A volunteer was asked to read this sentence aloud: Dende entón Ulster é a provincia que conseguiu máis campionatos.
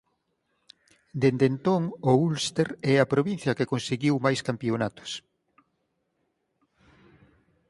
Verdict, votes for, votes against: rejected, 0, 4